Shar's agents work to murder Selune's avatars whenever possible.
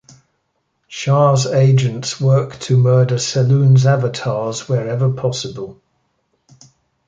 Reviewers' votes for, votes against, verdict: 1, 2, rejected